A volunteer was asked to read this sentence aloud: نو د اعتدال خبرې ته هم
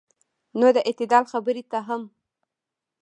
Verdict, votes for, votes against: accepted, 3, 0